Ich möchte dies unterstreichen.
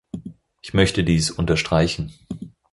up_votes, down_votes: 4, 0